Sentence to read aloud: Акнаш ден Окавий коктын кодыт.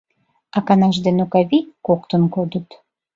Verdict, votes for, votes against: rejected, 0, 2